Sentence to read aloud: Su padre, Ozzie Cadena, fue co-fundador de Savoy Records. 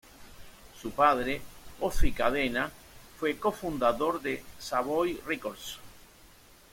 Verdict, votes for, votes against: accepted, 2, 0